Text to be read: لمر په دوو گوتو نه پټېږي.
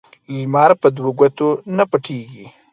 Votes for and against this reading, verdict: 2, 0, accepted